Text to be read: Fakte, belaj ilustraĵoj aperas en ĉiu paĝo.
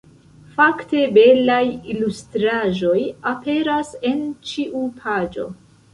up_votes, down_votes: 2, 0